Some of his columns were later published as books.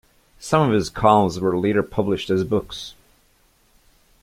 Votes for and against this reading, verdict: 3, 0, accepted